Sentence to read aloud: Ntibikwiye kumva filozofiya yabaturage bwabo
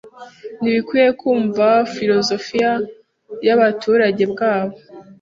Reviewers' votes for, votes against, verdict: 2, 0, accepted